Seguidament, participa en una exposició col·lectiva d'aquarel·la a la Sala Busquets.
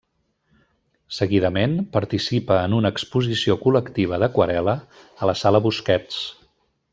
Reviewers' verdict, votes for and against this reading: accepted, 3, 0